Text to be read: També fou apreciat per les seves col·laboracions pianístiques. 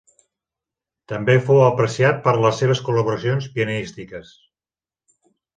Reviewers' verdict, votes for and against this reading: accepted, 3, 0